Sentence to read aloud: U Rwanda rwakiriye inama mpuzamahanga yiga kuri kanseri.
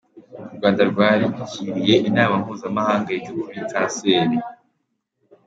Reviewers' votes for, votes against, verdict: 2, 0, accepted